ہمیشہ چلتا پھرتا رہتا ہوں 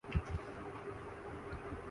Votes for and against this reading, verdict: 1, 3, rejected